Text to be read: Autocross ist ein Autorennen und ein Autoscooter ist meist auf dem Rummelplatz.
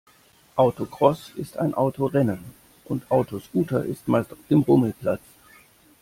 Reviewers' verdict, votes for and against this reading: rejected, 1, 2